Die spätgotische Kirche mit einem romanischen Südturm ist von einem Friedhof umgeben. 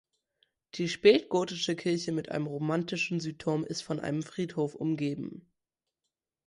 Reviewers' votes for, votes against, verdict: 0, 2, rejected